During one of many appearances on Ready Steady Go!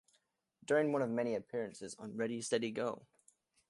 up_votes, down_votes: 2, 1